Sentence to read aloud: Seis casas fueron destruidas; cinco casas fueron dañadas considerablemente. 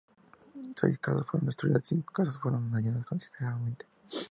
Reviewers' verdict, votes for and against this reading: accepted, 2, 0